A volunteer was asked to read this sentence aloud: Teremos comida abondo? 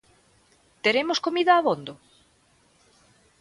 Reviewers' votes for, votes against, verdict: 2, 0, accepted